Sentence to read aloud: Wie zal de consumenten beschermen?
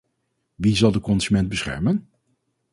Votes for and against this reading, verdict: 2, 2, rejected